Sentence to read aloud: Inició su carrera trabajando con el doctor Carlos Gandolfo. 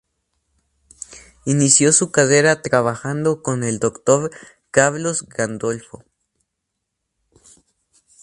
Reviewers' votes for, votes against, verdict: 2, 2, rejected